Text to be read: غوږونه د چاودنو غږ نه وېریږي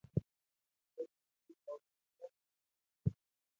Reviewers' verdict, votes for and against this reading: rejected, 0, 2